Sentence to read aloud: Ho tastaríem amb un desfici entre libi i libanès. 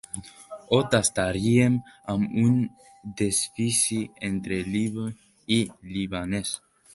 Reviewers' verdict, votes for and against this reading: accepted, 2, 1